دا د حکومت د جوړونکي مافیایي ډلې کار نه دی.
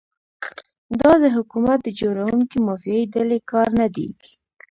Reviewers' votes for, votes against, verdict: 1, 2, rejected